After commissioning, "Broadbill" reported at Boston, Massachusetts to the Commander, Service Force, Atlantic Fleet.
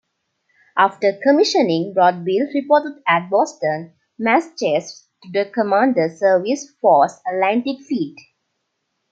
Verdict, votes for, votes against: rejected, 0, 2